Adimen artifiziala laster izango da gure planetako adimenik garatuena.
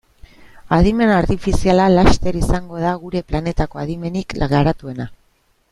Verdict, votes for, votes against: accepted, 3, 0